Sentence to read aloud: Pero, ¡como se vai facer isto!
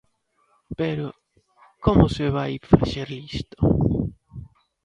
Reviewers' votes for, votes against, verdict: 1, 2, rejected